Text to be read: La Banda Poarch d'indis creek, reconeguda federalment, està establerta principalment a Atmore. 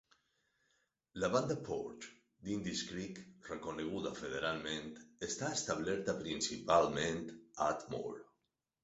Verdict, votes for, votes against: accepted, 4, 0